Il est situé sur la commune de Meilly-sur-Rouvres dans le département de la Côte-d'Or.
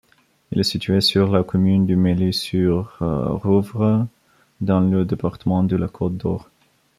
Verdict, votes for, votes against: accepted, 2, 0